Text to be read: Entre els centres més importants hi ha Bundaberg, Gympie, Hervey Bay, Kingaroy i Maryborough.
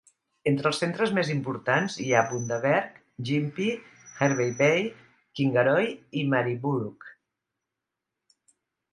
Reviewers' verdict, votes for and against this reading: accepted, 3, 0